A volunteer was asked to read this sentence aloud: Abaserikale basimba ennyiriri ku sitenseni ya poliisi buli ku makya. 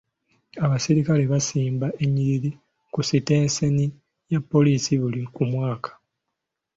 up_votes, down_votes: 0, 2